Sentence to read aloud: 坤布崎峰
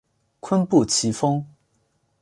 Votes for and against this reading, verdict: 2, 1, accepted